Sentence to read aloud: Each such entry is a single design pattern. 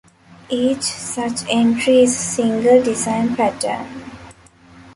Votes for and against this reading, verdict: 2, 1, accepted